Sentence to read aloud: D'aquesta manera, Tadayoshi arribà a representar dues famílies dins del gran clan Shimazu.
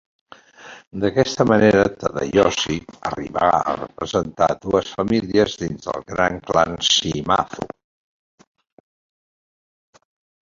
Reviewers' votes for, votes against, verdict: 1, 2, rejected